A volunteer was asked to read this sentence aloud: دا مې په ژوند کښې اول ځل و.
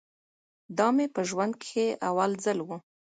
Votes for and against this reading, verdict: 2, 0, accepted